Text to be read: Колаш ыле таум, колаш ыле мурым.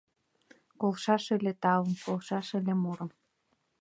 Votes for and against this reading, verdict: 0, 2, rejected